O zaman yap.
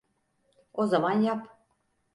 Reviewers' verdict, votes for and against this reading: accepted, 4, 0